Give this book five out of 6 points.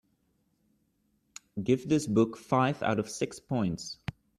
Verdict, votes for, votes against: rejected, 0, 2